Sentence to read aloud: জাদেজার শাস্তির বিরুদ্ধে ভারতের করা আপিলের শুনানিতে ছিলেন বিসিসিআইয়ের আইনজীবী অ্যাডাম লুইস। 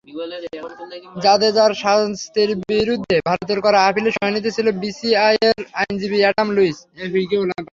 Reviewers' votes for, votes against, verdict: 3, 0, accepted